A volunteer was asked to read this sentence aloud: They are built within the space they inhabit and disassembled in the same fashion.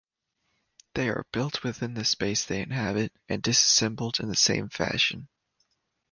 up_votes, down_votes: 2, 0